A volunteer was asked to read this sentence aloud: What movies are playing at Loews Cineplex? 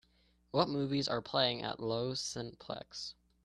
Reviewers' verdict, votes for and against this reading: accepted, 2, 0